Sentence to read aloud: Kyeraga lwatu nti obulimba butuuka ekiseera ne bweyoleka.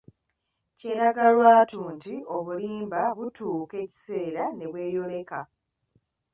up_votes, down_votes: 3, 0